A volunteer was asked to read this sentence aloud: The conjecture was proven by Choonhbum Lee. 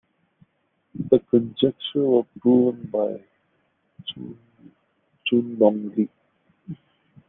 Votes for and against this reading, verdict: 0, 2, rejected